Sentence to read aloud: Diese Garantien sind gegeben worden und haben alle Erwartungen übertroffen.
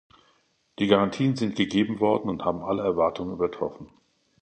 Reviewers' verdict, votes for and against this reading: rejected, 0, 2